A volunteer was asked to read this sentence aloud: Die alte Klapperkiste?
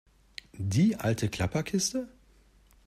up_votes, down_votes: 2, 0